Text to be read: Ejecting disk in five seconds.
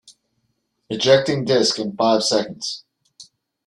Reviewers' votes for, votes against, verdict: 2, 0, accepted